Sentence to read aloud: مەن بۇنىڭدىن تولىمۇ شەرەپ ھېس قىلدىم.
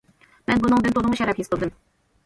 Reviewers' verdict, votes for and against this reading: rejected, 1, 2